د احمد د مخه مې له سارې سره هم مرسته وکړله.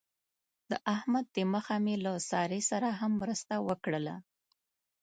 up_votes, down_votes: 2, 0